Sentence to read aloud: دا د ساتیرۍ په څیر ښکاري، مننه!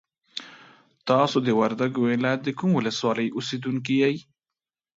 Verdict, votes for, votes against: rejected, 0, 2